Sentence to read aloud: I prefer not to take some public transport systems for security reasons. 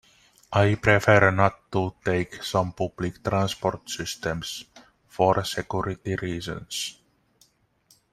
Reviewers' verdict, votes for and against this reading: accepted, 2, 1